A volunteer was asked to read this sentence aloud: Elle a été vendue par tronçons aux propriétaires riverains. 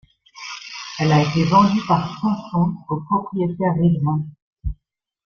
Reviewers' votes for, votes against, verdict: 0, 2, rejected